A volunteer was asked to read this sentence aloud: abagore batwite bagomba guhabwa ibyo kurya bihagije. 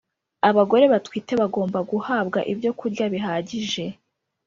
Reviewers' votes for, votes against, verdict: 2, 0, accepted